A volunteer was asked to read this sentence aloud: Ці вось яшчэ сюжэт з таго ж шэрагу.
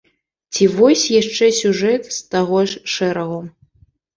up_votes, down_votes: 2, 0